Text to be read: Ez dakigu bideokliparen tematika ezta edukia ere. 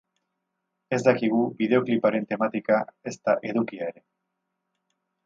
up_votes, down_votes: 2, 0